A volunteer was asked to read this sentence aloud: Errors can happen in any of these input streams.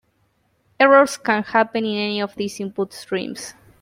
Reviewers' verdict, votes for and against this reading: accepted, 2, 1